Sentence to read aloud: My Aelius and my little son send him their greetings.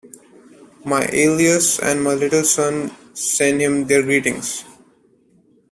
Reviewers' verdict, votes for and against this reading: accepted, 2, 0